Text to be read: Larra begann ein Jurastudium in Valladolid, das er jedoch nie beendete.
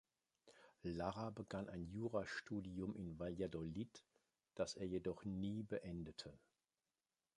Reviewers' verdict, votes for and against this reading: accepted, 2, 0